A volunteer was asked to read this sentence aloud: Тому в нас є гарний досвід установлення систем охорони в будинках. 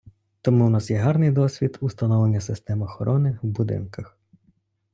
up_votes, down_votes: 2, 0